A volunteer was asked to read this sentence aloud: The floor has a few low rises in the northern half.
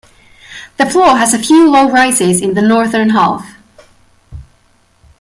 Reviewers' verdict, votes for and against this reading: accepted, 2, 0